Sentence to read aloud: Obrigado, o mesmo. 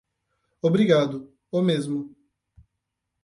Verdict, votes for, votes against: accepted, 8, 0